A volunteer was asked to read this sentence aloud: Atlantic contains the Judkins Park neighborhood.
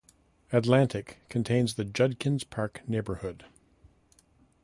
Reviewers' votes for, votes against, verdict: 2, 0, accepted